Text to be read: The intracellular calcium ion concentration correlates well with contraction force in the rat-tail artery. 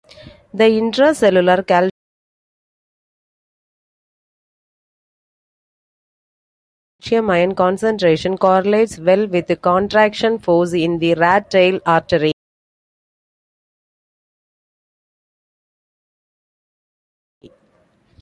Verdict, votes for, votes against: rejected, 0, 2